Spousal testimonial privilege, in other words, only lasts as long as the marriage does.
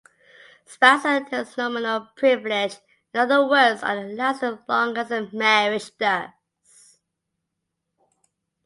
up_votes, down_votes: 1, 2